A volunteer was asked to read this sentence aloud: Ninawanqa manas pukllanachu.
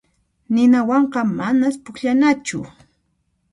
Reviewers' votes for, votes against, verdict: 2, 0, accepted